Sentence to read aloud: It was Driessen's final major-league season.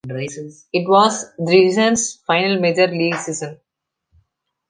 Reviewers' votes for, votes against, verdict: 1, 2, rejected